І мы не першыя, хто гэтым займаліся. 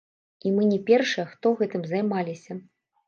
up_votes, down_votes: 0, 2